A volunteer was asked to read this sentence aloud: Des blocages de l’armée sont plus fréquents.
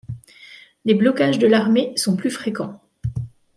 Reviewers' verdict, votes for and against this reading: accepted, 2, 0